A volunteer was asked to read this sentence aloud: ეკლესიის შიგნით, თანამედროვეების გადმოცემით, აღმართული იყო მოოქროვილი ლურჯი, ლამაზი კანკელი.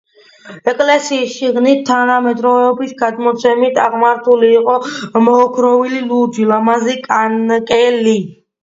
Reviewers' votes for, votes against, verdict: 2, 1, accepted